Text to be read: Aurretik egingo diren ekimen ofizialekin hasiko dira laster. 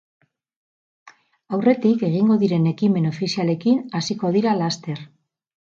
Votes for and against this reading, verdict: 2, 2, rejected